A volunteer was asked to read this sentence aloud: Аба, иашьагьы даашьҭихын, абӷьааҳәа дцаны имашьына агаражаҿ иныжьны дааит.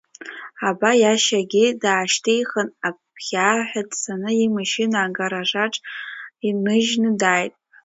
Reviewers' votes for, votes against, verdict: 2, 1, accepted